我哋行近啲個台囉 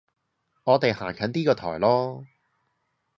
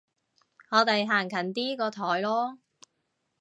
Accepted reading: first